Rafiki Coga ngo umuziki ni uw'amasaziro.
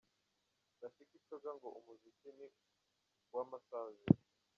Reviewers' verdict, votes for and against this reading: rejected, 1, 2